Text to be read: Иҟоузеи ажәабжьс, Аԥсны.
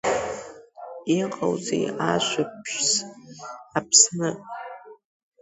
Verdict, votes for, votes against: accepted, 2, 0